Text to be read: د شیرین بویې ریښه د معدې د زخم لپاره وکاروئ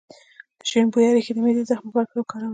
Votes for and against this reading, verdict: 1, 2, rejected